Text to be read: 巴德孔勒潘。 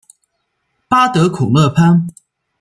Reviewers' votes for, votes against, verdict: 2, 0, accepted